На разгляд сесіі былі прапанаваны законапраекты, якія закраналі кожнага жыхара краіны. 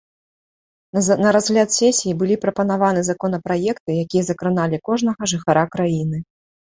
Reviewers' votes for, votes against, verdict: 1, 2, rejected